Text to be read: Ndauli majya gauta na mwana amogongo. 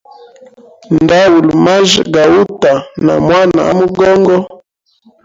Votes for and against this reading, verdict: 2, 0, accepted